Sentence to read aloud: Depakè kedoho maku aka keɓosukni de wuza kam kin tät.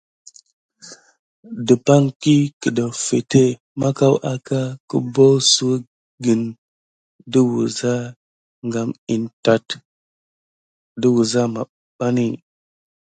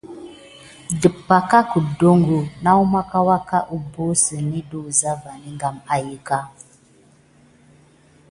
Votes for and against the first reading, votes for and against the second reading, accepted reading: 1, 2, 2, 0, second